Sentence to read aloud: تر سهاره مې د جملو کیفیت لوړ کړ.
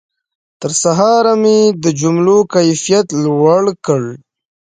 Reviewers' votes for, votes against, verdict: 1, 2, rejected